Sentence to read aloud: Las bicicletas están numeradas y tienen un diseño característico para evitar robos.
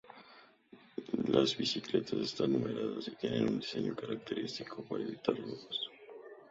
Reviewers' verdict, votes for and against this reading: accepted, 4, 0